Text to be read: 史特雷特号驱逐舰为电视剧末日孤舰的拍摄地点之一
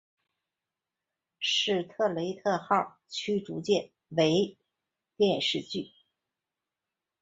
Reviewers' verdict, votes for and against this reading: rejected, 1, 2